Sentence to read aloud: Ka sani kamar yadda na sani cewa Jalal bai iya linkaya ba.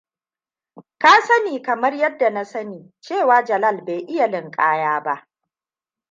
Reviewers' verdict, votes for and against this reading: rejected, 1, 2